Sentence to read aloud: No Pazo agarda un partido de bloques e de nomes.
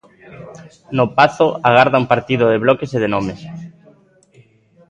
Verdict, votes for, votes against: accepted, 2, 0